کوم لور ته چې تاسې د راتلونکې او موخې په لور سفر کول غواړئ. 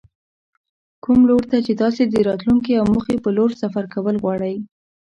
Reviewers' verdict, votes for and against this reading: rejected, 1, 2